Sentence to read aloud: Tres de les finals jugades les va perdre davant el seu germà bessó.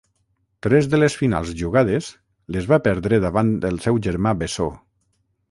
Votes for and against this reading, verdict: 3, 3, rejected